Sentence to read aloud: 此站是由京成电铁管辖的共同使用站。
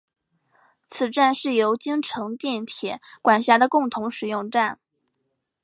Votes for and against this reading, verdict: 8, 0, accepted